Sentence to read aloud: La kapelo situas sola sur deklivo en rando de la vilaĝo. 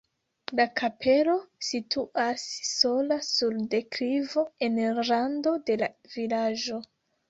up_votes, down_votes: 0, 2